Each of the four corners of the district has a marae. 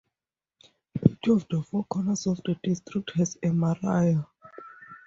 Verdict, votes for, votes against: rejected, 0, 2